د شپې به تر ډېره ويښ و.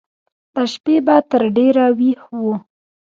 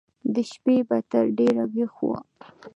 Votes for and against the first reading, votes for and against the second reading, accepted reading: 1, 2, 2, 0, second